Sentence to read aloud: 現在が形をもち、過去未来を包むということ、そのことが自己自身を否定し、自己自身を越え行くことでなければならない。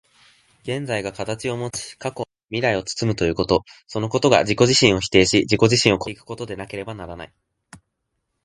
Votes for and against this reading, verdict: 2, 0, accepted